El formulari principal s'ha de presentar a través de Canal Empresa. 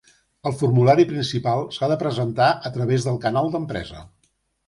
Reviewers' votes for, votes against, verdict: 0, 2, rejected